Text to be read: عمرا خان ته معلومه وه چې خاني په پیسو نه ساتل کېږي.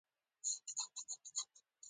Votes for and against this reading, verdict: 0, 2, rejected